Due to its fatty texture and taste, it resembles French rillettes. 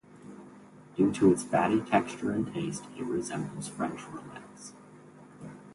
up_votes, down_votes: 0, 2